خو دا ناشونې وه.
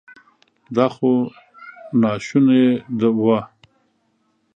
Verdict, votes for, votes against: rejected, 1, 3